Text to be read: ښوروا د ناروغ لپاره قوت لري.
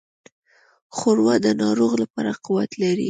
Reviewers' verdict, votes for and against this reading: accepted, 2, 0